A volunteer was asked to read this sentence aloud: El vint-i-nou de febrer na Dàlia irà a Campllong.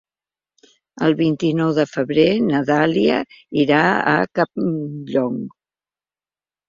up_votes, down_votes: 1, 2